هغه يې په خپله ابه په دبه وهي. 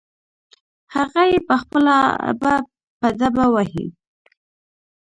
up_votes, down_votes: 1, 2